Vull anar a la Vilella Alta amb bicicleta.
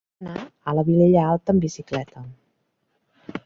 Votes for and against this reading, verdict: 0, 2, rejected